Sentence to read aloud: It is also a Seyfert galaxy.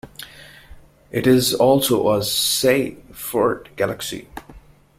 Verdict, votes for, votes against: rejected, 1, 2